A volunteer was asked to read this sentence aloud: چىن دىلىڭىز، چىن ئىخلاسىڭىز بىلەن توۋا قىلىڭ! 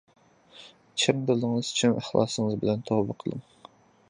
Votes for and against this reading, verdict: 0, 2, rejected